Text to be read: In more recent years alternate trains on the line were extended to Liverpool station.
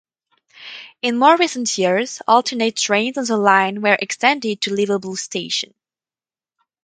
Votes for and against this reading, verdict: 2, 2, rejected